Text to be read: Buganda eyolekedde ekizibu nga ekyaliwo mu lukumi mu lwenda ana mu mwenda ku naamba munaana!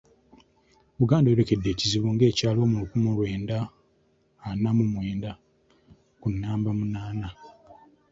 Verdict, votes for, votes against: accepted, 2, 0